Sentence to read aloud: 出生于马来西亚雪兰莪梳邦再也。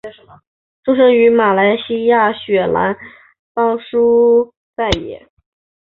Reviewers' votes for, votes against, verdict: 1, 2, rejected